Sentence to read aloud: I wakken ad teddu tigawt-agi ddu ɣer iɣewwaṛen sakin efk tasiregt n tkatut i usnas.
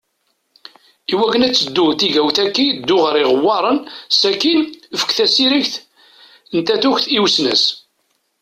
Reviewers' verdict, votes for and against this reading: rejected, 1, 2